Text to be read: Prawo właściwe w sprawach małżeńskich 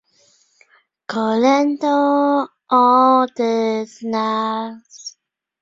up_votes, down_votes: 0, 2